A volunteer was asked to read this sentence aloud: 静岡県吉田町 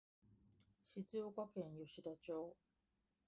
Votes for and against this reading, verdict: 0, 2, rejected